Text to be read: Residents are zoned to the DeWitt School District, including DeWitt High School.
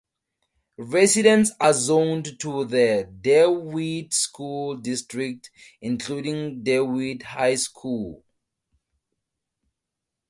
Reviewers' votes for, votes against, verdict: 0, 2, rejected